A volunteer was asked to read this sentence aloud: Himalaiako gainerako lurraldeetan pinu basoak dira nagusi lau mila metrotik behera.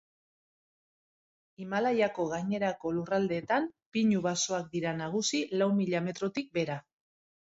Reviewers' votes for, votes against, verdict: 2, 0, accepted